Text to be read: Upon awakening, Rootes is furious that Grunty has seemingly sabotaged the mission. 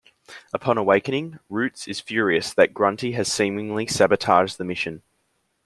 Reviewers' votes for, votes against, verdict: 2, 0, accepted